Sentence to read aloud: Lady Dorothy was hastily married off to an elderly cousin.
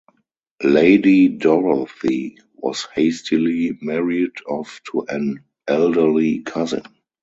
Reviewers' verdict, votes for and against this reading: accepted, 4, 0